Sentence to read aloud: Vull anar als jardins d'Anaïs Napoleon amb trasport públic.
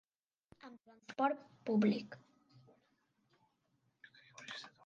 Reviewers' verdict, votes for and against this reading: rejected, 1, 2